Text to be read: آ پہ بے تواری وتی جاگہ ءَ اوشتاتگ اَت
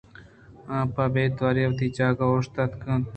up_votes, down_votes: 1, 2